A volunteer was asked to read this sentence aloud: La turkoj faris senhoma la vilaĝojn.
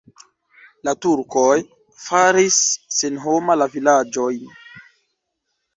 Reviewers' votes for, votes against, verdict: 1, 2, rejected